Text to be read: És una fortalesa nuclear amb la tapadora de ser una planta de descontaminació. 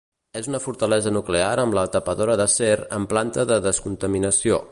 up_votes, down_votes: 2, 1